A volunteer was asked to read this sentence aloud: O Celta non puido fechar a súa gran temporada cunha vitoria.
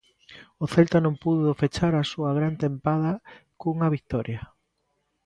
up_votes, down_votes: 0, 2